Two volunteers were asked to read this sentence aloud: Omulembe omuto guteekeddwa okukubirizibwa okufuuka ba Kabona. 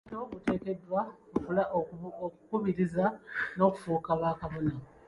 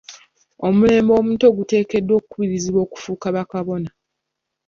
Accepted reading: second